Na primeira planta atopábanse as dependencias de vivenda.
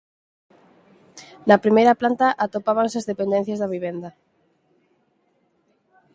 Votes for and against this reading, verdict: 4, 2, accepted